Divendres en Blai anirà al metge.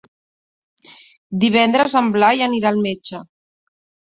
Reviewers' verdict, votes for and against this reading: accepted, 3, 0